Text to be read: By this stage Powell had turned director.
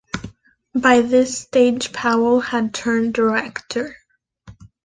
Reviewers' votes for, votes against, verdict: 2, 0, accepted